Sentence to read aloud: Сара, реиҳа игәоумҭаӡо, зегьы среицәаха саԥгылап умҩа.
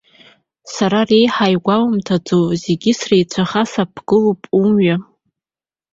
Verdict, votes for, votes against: accepted, 2, 0